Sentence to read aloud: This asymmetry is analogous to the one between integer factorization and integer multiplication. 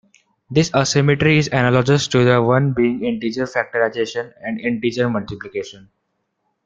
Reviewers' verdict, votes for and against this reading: rejected, 1, 2